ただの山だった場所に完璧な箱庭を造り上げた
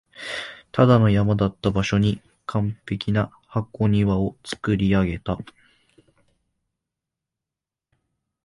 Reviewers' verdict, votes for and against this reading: rejected, 1, 2